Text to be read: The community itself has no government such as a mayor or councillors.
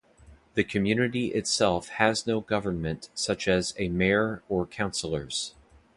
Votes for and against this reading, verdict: 2, 0, accepted